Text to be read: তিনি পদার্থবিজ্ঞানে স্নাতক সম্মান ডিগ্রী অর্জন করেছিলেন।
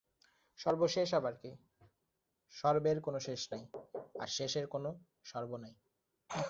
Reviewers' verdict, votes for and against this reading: rejected, 0, 3